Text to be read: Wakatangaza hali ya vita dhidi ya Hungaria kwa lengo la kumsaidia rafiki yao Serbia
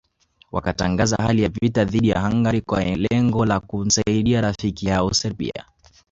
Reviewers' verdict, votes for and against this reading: rejected, 1, 2